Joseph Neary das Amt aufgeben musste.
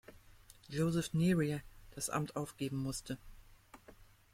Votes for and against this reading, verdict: 2, 1, accepted